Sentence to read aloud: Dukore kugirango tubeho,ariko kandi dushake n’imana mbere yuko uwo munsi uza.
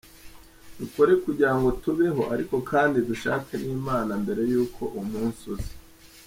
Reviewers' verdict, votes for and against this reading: accepted, 2, 0